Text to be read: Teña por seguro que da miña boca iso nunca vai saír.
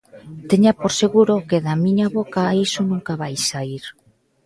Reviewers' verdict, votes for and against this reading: rejected, 1, 2